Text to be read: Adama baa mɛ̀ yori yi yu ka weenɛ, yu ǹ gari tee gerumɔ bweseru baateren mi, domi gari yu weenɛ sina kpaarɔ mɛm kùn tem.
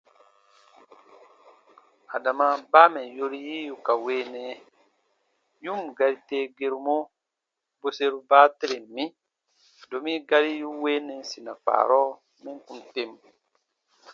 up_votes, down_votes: 2, 0